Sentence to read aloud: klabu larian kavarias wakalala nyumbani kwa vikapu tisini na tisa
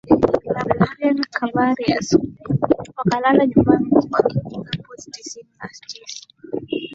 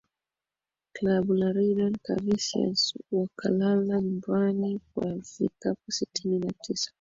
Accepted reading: second